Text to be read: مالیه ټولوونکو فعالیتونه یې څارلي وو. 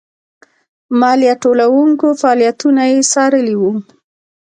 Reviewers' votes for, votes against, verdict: 2, 0, accepted